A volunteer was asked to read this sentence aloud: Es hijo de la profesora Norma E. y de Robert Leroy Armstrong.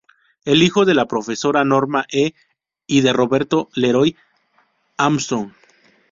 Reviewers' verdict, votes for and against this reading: rejected, 0, 2